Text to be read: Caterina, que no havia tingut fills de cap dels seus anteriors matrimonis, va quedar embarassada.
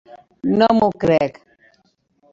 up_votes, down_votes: 0, 2